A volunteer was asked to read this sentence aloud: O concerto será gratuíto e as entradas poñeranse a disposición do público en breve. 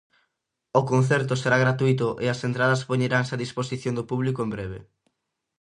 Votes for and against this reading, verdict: 2, 0, accepted